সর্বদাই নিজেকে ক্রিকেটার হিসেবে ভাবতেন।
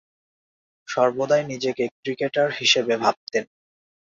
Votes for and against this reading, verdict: 3, 0, accepted